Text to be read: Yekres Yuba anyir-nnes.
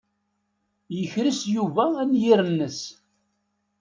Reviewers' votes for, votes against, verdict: 2, 0, accepted